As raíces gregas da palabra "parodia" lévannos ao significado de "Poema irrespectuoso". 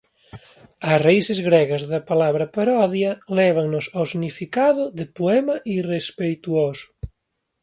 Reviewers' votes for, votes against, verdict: 1, 2, rejected